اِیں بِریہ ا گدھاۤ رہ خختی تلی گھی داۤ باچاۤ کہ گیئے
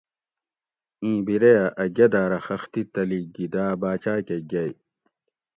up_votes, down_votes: 2, 0